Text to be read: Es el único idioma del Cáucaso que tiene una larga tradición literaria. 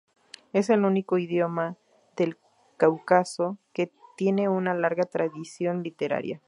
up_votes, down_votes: 2, 0